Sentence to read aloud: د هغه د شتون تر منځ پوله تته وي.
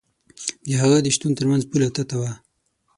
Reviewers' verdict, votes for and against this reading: accepted, 6, 3